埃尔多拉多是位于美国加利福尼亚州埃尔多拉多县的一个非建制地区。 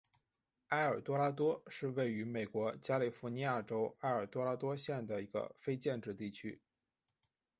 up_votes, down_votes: 2, 0